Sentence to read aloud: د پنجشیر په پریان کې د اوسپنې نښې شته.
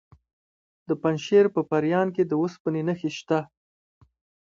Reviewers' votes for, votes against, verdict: 2, 0, accepted